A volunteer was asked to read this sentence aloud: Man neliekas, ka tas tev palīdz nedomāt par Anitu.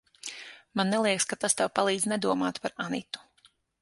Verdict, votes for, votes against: accepted, 9, 0